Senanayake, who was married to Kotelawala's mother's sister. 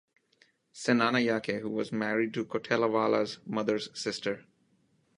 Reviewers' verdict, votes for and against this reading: accepted, 2, 0